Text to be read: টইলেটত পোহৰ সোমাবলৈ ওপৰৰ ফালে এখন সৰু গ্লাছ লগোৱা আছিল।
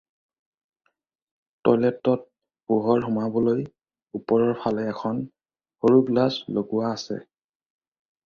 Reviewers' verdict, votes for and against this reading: rejected, 0, 4